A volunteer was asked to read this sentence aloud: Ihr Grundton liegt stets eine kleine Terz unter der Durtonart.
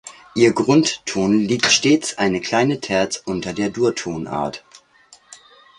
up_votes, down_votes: 2, 0